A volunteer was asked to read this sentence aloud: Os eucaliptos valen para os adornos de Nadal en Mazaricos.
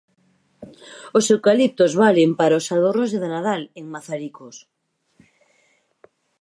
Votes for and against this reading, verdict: 4, 0, accepted